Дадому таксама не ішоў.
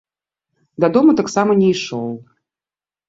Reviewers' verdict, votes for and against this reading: accepted, 2, 0